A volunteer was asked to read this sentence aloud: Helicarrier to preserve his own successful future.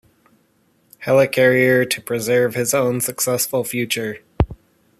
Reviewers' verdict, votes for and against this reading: accepted, 2, 1